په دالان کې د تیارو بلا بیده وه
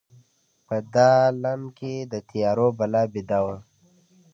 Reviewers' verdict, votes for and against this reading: accepted, 2, 0